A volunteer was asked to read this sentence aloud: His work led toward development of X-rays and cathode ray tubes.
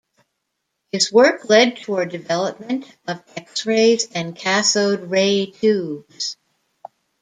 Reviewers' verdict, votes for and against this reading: rejected, 1, 2